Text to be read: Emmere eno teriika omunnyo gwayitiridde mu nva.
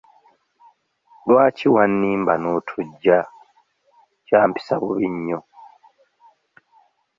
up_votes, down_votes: 0, 2